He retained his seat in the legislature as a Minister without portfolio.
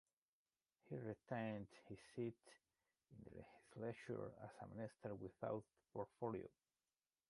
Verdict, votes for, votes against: rejected, 0, 2